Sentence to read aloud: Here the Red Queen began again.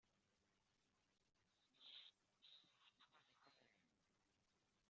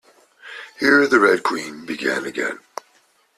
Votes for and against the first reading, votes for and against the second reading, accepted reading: 0, 2, 2, 0, second